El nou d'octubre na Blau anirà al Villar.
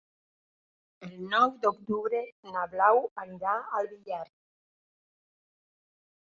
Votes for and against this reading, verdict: 2, 1, accepted